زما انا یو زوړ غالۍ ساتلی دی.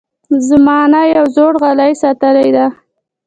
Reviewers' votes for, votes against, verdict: 2, 1, accepted